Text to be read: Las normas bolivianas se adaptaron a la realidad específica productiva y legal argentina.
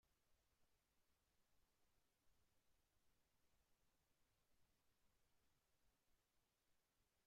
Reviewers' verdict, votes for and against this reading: rejected, 0, 2